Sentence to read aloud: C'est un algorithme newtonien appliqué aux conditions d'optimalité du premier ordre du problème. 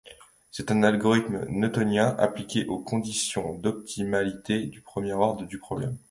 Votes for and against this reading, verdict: 1, 2, rejected